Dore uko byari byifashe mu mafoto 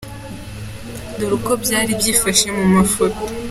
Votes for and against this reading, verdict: 2, 0, accepted